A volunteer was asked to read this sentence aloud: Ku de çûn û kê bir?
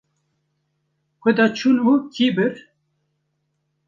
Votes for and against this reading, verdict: 1, 2, rejected